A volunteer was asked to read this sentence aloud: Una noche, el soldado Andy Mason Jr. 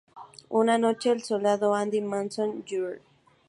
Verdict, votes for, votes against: accepted, 2, 0